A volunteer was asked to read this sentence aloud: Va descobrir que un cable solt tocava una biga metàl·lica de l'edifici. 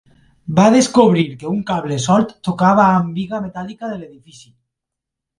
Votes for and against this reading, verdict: 1, 3, rejected